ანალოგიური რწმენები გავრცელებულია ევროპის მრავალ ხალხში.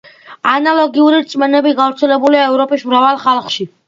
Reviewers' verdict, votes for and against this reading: accepted, 2, 0